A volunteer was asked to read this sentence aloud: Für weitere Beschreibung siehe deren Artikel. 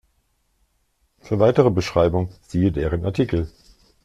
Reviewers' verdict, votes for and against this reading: accepted, 2, 0